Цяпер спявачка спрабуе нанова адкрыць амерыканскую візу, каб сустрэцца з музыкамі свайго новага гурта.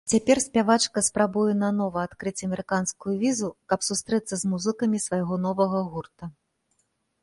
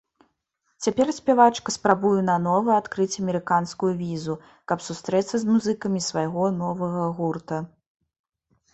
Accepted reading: first